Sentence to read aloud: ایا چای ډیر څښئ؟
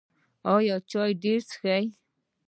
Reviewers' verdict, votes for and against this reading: rejected, 1, 2